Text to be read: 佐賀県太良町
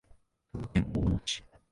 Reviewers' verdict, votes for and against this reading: rejected, 0, 2